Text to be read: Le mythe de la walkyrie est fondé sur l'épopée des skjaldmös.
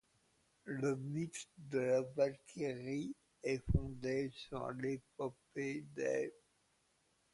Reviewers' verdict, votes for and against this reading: accepted, 2, 1